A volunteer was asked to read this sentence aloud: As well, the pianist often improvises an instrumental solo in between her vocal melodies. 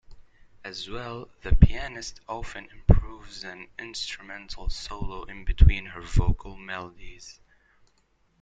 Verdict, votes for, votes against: accepted, 2, 1